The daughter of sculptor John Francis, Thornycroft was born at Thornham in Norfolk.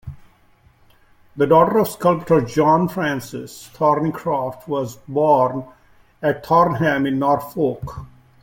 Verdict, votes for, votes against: accepted, 2, 1